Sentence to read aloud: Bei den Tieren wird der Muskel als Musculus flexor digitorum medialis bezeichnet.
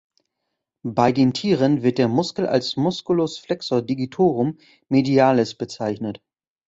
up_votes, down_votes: 2, 0